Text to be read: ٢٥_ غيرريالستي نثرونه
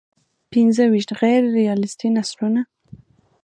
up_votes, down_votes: 0, 2